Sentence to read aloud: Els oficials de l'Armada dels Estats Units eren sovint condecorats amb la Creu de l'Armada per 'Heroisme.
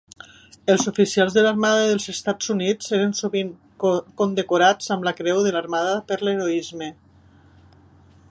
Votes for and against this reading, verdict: 0, 2, rejected